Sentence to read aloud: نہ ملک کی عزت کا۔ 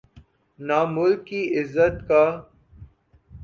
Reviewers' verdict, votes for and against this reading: accepted, 2, 0